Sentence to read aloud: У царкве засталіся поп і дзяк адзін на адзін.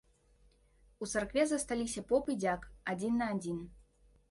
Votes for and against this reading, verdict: 2, 0, accepted